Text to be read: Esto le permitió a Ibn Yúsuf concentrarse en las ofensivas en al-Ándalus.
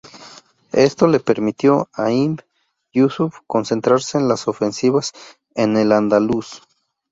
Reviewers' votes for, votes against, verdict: 2, 0, accepted